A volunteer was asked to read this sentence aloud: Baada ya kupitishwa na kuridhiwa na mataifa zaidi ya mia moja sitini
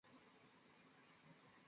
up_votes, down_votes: 0, 2